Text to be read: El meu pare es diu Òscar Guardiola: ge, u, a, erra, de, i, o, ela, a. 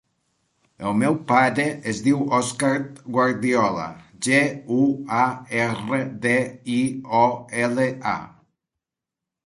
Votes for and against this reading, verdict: 2, 0, accepted